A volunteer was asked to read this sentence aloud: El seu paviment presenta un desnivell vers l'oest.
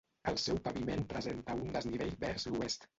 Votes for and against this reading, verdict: 2, 0, accepted